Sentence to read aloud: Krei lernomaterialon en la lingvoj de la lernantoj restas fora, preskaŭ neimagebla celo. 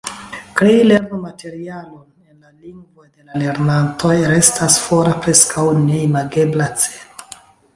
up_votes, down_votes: 1, 2